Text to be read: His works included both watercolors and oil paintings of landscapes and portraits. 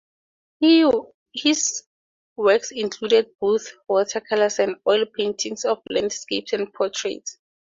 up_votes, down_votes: 4, 0